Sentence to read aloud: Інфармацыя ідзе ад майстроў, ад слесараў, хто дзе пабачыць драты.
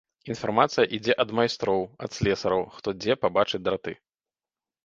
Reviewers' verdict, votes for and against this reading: accepted, 2, 0